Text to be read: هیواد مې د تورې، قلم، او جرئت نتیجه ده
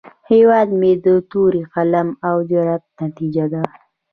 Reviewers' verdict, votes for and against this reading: rejected, 0, 2